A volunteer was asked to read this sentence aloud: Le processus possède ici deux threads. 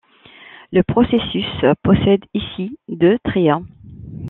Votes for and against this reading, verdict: 1, 2, rejected